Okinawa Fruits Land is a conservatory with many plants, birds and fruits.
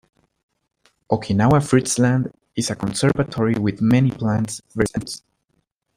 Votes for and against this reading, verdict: 0, 2, rejected